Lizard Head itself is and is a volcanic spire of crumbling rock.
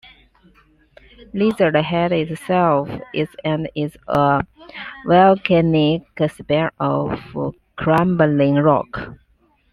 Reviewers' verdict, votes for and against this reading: rejected, 1, 2